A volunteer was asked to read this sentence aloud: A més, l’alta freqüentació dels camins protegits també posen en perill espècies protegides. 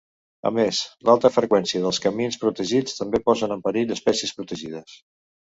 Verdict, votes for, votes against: rejected, 1, 2